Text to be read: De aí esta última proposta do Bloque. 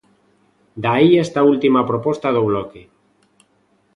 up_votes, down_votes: 2, 0